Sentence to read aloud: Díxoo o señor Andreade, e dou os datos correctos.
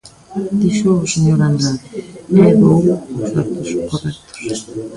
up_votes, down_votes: 0, 2